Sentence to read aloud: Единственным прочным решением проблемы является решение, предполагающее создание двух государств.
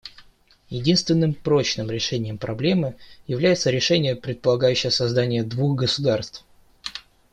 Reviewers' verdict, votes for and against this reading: accepted, 2, 0